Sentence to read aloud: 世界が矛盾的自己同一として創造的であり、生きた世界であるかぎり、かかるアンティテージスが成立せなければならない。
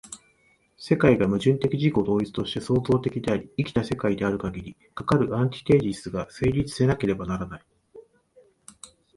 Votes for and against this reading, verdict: 2, 0, accepted